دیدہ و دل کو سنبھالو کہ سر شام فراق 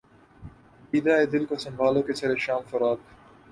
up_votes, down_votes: 2, 0